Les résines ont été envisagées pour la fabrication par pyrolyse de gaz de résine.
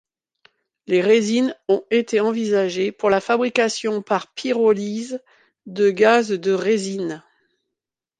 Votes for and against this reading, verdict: 2, 0, accepted